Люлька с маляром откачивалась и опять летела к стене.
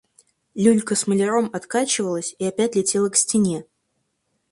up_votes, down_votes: 4, 0